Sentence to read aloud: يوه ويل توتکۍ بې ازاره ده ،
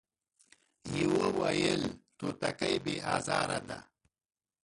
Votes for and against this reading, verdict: 1, 2, rejected